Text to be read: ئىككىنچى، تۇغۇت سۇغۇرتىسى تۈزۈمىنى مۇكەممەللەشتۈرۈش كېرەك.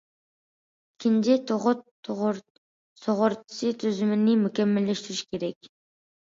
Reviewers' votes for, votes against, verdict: 0, 2, rejected